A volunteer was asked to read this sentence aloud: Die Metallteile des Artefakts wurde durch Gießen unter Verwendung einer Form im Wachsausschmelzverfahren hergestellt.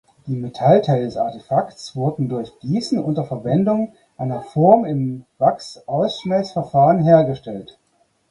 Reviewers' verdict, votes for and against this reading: rejected, 0, 4